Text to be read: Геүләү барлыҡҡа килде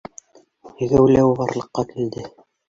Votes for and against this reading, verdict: 2, 1, accepted